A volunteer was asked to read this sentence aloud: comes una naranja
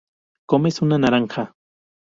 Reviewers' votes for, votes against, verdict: 2, 0, accepted